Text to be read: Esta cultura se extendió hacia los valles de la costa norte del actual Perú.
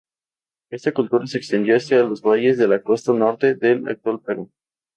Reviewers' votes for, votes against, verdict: 0, 2, rejected